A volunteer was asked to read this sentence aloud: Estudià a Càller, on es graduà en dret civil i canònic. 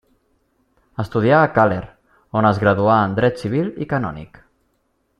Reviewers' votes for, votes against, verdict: 1, 2, rejected